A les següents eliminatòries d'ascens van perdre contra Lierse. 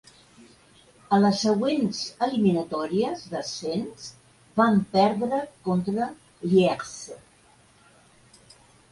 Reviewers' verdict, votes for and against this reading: accepted, 3, 0